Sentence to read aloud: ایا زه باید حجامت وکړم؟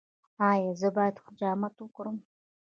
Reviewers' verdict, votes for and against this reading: accepted, 2, 0